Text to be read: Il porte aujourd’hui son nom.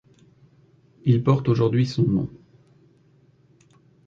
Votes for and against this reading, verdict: 2, 1, accepted